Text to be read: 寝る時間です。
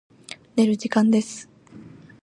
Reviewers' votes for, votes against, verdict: 2, 0, accepted